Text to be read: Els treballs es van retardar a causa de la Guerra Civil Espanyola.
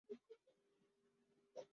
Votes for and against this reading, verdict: 0, 4, rejected